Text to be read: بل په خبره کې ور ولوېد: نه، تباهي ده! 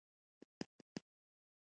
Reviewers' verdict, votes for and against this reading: rejected, 0, 2